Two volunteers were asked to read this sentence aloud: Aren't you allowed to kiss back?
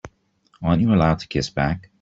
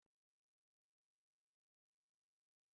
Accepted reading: first